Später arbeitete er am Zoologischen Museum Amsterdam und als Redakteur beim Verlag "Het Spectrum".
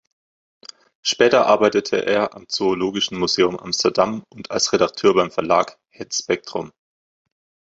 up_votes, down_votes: 2, 0